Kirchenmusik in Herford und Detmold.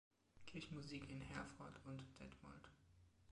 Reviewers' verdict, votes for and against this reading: rejected, 0, 2